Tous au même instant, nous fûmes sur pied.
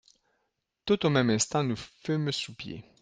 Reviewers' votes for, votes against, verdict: 0, 2, rejected